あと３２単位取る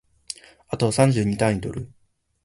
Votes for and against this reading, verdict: 0, 2, rejected